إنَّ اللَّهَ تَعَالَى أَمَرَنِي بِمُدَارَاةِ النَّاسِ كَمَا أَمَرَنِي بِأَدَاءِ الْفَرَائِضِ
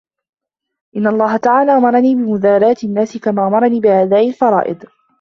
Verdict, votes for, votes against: accepted, 2, 0